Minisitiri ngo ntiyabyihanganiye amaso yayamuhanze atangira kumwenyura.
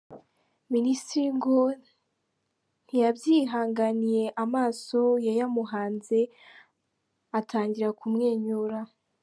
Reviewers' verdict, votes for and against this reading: accepted, 2, 0